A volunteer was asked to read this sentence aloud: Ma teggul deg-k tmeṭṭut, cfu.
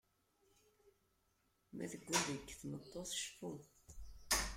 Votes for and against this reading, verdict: 1, 2, rejected